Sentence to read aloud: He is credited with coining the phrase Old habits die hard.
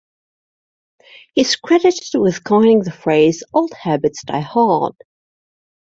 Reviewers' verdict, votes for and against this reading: accepted, 2, 0